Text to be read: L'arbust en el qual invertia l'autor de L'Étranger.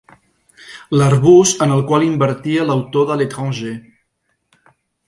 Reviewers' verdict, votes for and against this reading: accepted, 5, 0